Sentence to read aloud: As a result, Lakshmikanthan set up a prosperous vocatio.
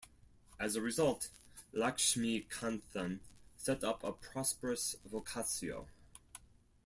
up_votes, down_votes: 0, 4